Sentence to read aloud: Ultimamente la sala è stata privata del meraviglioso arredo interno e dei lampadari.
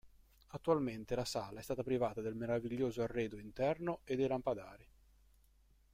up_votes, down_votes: 0, 2